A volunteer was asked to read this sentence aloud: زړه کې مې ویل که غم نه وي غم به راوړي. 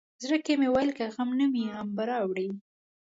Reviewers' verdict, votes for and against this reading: accepted, 2, 1